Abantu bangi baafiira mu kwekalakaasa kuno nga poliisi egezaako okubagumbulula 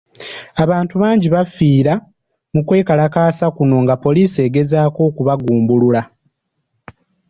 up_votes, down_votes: 2, 0